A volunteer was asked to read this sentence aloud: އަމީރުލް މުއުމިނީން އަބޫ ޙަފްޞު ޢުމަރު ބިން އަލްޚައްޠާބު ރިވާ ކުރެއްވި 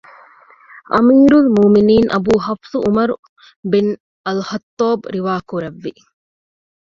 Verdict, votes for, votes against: rejected, 0, 2